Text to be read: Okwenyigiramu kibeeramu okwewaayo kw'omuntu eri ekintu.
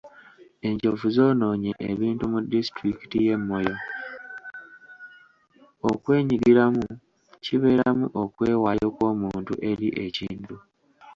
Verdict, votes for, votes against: rejected, 1, 2